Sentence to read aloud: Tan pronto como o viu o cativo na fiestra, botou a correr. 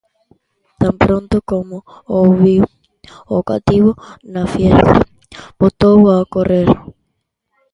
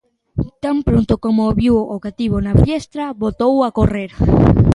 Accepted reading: second